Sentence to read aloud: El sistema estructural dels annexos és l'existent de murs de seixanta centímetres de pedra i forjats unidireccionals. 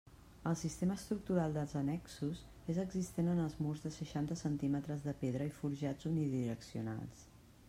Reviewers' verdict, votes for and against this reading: rejected, 0, 2